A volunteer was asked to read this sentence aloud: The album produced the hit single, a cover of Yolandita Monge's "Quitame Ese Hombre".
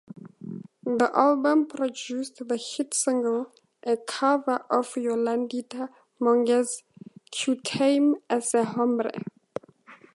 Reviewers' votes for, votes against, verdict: 2, 0, accepted